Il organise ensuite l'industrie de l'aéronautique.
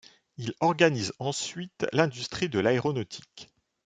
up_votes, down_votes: 2, 0